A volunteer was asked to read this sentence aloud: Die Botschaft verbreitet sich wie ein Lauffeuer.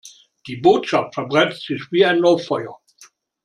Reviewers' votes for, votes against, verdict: 2, 0, accepted